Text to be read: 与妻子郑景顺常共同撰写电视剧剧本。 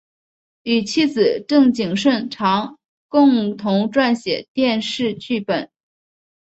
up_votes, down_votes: 2, 1